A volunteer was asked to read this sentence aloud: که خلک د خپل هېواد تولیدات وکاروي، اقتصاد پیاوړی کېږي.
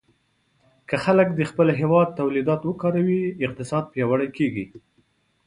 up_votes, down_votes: 2, 0